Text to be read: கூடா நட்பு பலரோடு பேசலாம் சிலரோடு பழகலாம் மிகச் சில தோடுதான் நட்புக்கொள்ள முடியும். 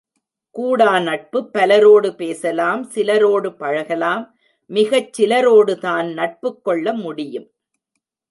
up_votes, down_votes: 1, 2